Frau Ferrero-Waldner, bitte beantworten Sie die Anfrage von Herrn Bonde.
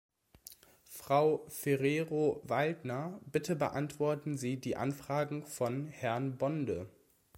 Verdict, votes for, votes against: accepted, 2, 0